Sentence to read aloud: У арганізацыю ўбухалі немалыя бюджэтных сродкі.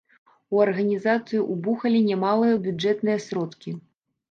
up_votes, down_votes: 1, 2